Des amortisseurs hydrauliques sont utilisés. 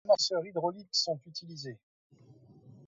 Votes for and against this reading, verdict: 0, 2, rejected